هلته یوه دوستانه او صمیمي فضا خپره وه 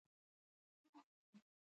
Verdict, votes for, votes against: rejected, 0, 2